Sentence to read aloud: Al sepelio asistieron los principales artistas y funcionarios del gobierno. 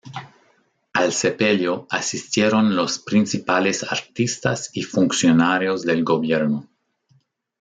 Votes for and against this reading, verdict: 2, 0, accepted